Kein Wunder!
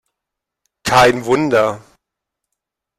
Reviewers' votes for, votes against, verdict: 1, 2, rejected